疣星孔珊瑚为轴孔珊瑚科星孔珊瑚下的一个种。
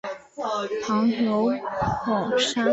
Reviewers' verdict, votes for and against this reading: rejected, 1, 2